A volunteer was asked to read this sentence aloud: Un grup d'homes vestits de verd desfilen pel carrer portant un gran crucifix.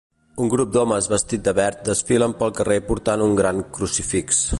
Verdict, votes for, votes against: rejected, 0, 2